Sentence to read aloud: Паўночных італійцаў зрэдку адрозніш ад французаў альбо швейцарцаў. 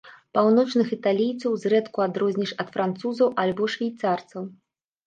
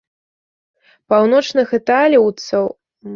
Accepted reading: first